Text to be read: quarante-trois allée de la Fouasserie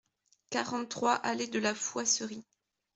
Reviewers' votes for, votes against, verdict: 2, 1, accepted